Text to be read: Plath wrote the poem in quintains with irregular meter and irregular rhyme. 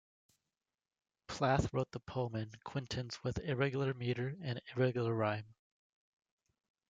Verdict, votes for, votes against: accepted, 2, 0